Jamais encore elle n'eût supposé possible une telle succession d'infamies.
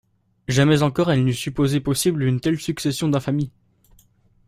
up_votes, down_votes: 2, 0